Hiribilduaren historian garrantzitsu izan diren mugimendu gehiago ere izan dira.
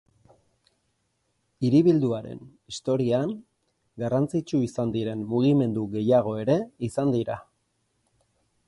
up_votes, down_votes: 2, 0